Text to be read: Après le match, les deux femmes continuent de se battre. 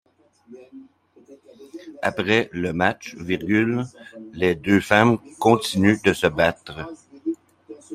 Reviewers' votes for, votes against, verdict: 0, 2, rejected